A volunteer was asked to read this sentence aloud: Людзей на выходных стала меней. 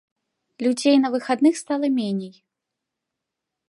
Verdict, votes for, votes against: rejected, 0, 2